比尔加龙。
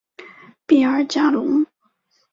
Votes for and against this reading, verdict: 3, 0, accepted